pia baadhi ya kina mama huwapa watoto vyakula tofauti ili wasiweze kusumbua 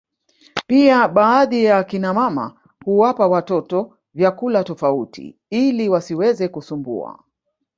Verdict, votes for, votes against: rejected, 1, 2